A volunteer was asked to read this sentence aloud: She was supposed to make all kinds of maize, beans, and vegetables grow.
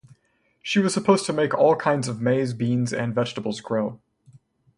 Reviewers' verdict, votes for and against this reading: accepted, 4, 0